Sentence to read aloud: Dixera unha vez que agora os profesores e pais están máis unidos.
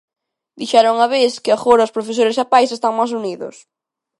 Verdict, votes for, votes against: accepted, 2, 0